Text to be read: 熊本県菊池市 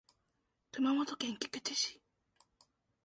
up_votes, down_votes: 2, 0